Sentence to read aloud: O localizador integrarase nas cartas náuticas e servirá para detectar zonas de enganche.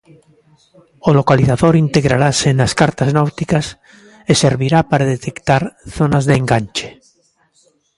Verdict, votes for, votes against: accepted, 2, 0